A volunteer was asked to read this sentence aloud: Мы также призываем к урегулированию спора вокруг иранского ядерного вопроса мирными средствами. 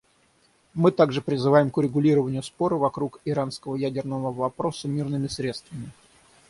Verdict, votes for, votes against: accepted, 6, 0